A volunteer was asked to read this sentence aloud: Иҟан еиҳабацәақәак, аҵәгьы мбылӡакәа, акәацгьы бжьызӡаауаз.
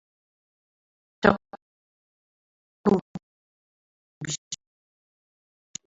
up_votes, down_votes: 0, 2